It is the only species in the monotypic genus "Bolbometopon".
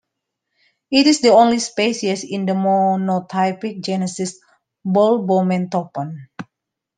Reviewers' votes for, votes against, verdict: 0, 2, rejected